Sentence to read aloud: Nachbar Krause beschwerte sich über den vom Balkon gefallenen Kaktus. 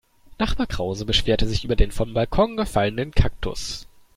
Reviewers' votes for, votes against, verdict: 2, 0, accepted